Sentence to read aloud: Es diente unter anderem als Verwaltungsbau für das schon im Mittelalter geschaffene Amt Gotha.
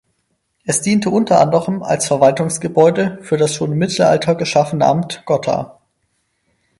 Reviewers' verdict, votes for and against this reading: rejected, 0, 4